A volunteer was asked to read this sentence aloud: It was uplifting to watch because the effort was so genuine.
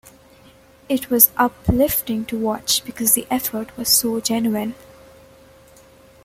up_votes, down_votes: 2, 0